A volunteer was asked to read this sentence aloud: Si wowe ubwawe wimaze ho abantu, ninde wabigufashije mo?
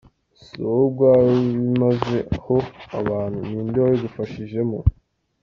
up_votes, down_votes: 1, 2